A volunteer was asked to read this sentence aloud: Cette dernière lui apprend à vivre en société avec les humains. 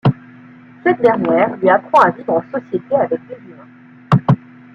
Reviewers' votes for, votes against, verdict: 1, 2, rejected